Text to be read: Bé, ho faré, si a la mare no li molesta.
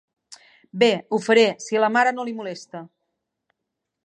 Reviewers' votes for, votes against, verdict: 2, 0, accepted